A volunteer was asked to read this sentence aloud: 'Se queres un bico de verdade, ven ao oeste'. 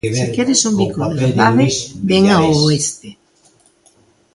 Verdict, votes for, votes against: rejected, 0, 2